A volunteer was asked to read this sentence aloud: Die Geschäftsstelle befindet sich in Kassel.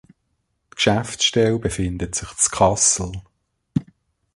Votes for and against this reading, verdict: 0, 2, rejected